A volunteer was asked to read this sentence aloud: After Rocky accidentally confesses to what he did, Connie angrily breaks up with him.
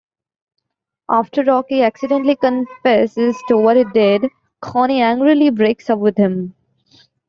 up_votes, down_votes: 2, 1